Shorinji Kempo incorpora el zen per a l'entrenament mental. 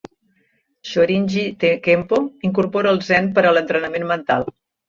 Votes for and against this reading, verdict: 0, 2, rejected